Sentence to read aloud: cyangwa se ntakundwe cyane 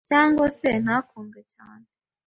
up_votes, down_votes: 2, 0